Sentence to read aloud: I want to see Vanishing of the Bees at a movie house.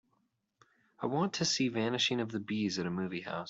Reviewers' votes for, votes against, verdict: 4, 0, accepted